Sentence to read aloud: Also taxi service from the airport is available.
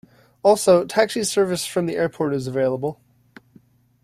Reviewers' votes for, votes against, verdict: 2, 0, accepted